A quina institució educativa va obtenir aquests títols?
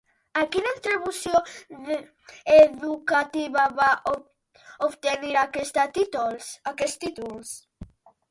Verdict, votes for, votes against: rejected, 0, 2